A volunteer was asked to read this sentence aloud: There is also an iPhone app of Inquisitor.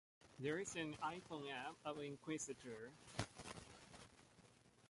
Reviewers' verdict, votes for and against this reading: rejected, 0, 2